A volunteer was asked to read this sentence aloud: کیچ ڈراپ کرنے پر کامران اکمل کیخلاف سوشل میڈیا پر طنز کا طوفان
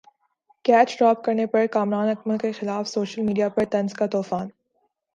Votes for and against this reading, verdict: 2, 0, accepted